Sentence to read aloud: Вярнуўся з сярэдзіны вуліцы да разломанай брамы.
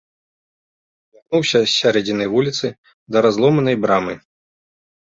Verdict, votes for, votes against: rejected, 0, 2